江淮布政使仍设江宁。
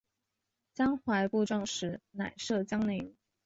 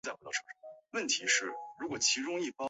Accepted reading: first